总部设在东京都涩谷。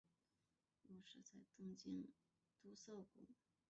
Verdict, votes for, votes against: rejected, 1, 3